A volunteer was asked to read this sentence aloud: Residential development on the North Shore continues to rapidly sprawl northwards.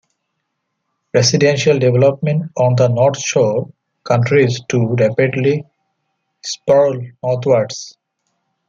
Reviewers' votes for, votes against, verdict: 2, 1, accepted